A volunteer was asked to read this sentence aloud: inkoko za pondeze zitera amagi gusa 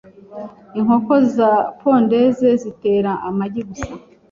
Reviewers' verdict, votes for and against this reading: accepted, 2, 0